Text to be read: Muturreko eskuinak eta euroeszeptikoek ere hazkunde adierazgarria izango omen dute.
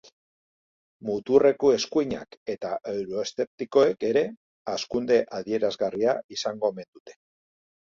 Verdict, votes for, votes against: accepted, 2, 0